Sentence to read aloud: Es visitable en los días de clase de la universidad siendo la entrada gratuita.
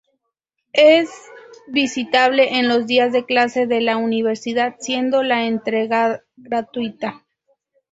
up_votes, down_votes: 0, 2